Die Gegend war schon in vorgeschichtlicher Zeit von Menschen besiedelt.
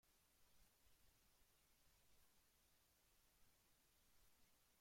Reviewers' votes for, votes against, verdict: 0, 2, rejected